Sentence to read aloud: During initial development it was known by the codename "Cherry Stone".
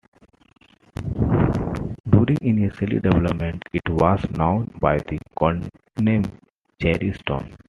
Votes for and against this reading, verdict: 2, 0, accepted